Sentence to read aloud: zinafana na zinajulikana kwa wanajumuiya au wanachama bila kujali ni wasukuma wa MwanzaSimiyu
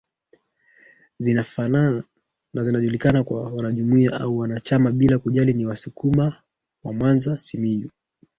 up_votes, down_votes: 1, 2